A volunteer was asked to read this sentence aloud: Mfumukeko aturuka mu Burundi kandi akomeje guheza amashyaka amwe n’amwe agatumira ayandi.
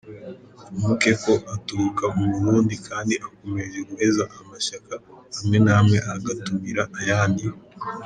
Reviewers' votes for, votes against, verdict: 1, 2, rejected